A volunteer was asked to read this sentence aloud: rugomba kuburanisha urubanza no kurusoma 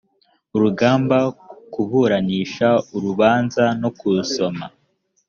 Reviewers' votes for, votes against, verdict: 0, 2, rejected